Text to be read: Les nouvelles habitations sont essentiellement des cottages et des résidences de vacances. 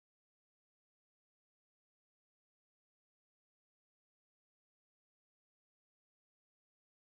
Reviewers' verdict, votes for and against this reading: rejected, 0, 2